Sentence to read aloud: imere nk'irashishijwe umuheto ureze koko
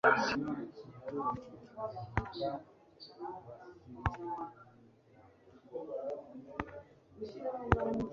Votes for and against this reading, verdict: 1, 2, rejected